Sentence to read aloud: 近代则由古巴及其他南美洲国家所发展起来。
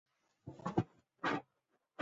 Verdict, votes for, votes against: rejected, 0, 2